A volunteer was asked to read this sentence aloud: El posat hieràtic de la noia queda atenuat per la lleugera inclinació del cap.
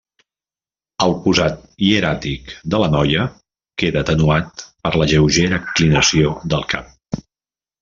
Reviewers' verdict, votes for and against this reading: rejected, 1, 2